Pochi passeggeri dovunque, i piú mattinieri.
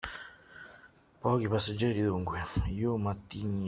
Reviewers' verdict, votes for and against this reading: rejected, 1, 2